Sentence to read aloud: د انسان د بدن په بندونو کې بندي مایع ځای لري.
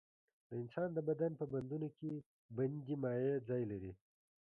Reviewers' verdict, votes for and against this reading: accepted, 2, 0